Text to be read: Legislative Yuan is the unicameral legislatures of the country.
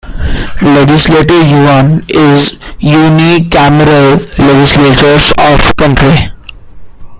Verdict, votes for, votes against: rejected, 0, 2